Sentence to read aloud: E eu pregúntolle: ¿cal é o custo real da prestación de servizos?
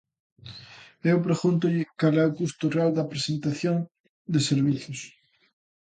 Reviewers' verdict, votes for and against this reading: rejected, 0, 2